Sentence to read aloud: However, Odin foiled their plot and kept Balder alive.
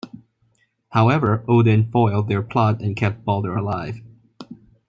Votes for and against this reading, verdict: 2, 0, accepted